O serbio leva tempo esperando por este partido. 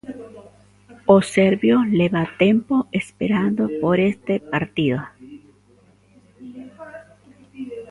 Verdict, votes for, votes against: rejected, 0, 2